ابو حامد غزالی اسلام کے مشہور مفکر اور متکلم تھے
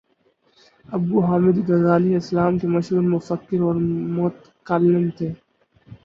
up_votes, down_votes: 2, 4